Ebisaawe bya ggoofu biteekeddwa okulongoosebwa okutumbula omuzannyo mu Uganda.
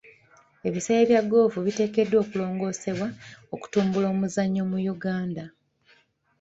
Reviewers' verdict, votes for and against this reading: accepted, 2, 0